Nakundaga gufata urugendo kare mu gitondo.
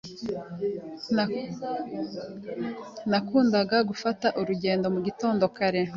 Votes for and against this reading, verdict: 2, 1, accepted